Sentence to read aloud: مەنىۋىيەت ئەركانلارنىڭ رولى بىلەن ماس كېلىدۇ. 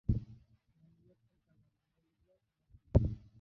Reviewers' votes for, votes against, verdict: 0, 2, rejected